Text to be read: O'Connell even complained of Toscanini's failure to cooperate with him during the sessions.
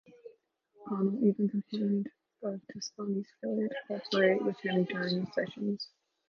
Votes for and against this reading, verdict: 0, 2, rejected